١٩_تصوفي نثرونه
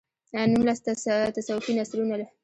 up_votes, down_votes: 0, 2